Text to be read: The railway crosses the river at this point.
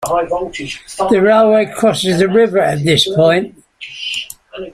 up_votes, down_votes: 0, 2